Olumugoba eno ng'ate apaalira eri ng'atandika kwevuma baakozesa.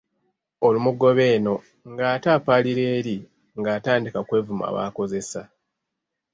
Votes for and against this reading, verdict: 2, 0, accepted